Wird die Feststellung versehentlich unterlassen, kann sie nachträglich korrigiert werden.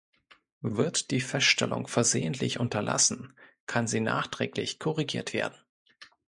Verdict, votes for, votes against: accepted, 2, 0